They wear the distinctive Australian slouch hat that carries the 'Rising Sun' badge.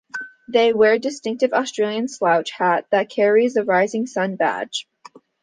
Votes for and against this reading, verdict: 2, 0, accepted